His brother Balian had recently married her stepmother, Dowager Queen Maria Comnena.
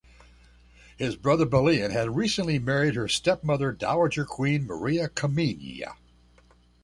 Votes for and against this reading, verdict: 1, 2, rejected